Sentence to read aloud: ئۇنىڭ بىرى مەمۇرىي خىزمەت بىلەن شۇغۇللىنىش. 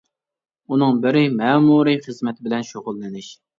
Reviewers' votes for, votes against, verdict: 2, 1, accepted